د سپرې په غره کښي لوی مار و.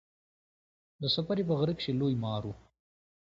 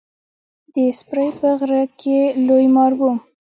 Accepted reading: first